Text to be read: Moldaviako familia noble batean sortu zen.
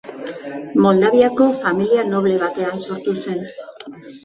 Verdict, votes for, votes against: accepted, 2, 1